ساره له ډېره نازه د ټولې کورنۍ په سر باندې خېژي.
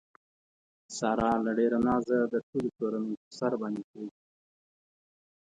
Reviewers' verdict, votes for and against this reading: rejected, 1, 2